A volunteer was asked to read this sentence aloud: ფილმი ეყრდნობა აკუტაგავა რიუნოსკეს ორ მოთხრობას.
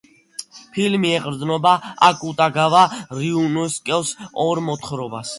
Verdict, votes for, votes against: accepted, 2, 0